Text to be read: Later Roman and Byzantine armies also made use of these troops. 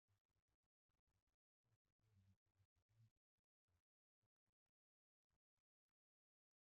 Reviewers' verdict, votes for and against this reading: rejected, 0, 2